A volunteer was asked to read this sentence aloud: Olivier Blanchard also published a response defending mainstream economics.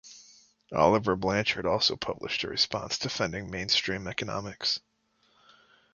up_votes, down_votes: 2, 1